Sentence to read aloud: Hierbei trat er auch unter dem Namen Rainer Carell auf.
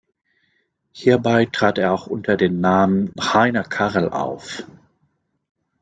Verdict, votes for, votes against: rejected, 1, 2